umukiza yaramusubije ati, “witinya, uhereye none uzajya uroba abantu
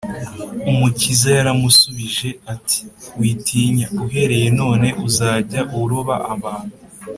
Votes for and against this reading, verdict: 3, 0, accepted